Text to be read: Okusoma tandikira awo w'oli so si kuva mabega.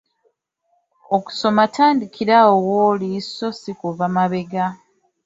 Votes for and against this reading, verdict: 2, 0, accepted